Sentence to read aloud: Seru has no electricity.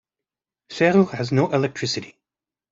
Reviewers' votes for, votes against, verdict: 2, 0, accepted